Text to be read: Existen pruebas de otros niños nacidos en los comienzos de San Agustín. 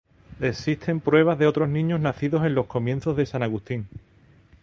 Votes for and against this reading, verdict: 0, 2, rejected